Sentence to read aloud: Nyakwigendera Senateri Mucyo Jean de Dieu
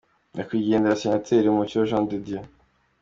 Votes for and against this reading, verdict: 2, 0, accepted